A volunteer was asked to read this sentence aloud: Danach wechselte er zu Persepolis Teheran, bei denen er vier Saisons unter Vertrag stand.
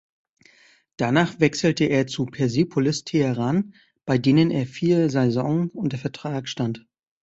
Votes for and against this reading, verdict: 0, 2, rejected